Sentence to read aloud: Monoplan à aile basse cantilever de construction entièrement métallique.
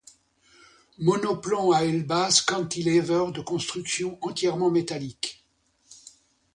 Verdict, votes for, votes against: accepted, 2, 0